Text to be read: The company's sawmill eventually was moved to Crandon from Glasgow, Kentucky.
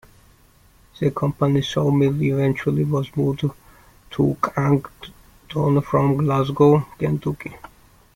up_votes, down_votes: 1, 3